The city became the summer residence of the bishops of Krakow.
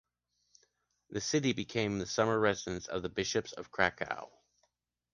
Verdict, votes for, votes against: accepted, 2, 0